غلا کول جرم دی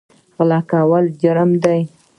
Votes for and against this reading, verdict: 2, 0, accepted